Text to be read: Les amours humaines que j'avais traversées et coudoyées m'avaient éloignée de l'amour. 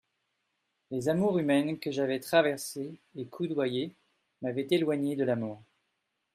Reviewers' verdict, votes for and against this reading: rejected, 1, 2